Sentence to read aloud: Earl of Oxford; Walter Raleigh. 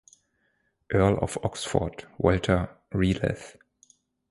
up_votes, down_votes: 2, 4